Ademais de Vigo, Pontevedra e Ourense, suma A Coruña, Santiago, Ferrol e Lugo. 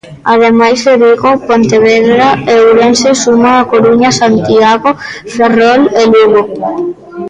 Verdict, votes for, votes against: rejected, 1, 2